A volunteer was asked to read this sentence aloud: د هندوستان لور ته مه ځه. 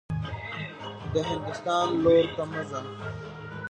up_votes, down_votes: 1, 2